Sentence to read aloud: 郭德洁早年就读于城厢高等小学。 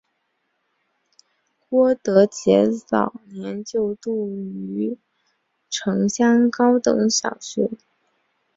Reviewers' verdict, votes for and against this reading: accepted, 2, 0